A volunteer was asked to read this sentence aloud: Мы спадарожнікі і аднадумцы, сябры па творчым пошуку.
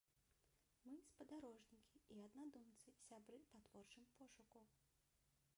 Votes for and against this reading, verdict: 0, 2, rejected